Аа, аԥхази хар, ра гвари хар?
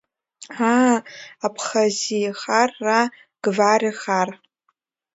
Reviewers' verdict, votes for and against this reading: accepted, 2, 1